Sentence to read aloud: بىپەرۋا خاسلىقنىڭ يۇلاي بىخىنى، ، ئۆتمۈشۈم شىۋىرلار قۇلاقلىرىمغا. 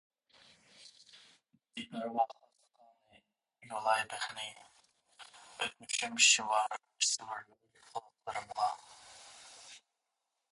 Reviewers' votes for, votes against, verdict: 0, 2, rejected